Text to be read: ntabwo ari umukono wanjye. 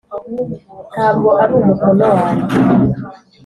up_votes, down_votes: 2, 0